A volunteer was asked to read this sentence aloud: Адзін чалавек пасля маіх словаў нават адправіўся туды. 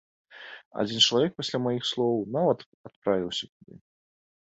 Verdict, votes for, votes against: rejected, 0, 2